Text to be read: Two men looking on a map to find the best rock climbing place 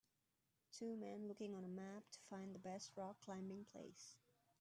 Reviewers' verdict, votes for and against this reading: rejected, 1, 2